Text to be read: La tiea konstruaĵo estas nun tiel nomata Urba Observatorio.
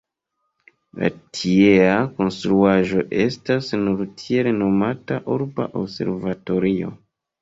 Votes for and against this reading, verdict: 0, 2, rejected